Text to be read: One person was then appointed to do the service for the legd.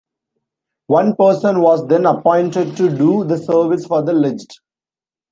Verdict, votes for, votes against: accepted, 2, 0